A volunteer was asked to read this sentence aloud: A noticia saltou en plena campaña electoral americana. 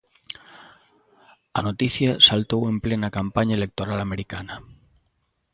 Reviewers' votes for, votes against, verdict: 2, 0, accepted